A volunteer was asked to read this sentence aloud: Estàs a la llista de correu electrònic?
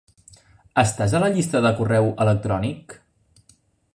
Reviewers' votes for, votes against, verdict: 2, 0, accepted